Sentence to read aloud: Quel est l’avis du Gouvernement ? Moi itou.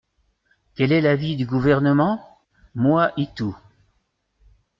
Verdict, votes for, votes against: accepted, 2, 0